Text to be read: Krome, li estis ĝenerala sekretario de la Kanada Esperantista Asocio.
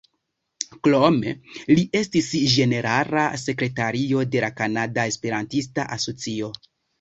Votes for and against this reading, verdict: 1, 2, rejected